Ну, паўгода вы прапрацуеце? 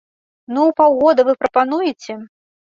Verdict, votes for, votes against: rejected, 0, 2